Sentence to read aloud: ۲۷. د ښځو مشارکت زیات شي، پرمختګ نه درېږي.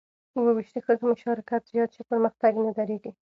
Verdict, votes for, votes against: rejected, 0, 2